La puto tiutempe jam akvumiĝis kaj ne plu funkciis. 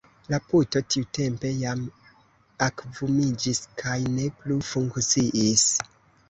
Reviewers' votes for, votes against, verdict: 0, 2, rejected